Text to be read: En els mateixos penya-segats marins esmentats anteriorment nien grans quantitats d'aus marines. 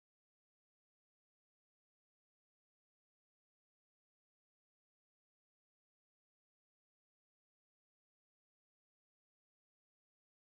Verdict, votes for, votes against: rejected, 0, 2